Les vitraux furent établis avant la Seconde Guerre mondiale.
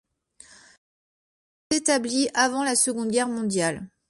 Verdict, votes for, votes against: accepted, 2, 1